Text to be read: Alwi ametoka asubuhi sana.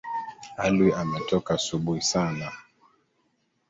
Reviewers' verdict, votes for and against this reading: rejected, 0, 2